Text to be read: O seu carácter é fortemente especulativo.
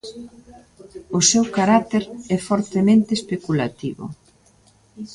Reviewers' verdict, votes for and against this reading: accepted, 3, 0